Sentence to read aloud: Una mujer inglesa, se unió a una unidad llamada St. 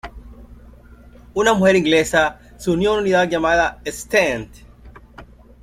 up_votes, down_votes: 0, 2